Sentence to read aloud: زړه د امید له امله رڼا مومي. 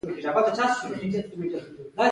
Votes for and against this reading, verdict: 1, 2, rejected